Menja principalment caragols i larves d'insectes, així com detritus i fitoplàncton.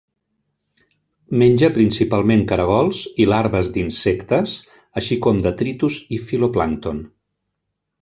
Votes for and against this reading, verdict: 1, 2, rejected